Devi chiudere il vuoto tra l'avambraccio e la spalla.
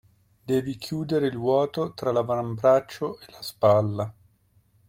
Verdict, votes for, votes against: accepted, 2, 1